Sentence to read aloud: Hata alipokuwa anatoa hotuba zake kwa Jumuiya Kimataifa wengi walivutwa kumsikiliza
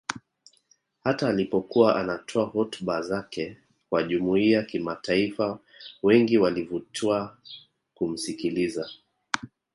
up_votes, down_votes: 2, 1